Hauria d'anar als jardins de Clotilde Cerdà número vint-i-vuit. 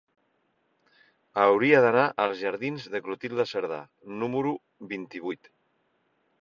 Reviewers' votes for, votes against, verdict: 3, 1, accepted